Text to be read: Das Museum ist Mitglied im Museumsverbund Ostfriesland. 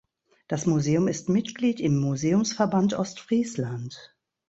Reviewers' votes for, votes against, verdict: 1, 2, rejected